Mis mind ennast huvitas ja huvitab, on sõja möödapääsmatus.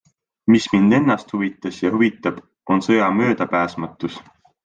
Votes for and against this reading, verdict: 4, 0, accepted